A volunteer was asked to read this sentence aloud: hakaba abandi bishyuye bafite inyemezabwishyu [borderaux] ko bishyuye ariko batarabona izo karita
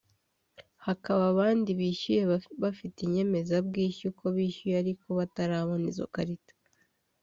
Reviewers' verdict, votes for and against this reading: rejected, 0, 2